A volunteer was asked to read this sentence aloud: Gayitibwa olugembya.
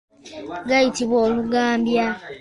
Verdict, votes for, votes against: rejected, 0, 2